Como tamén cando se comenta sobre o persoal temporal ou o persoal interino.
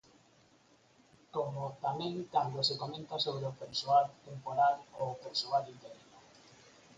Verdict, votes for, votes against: accepted, 6, 2